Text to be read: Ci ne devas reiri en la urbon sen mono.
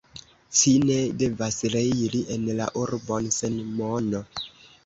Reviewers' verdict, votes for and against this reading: accepted, 2, 1